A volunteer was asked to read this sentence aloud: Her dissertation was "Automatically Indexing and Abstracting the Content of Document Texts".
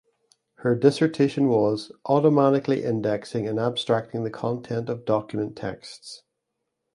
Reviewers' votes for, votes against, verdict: 2, 0, accepted